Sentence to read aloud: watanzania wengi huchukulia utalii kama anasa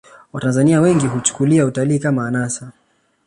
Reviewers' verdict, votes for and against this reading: accepted, 2, 0